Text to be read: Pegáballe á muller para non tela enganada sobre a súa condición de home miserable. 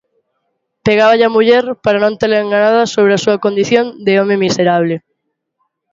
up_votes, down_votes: 2, 0